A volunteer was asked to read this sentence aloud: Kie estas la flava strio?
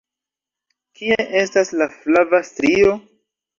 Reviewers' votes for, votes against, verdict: 2, 0, accepted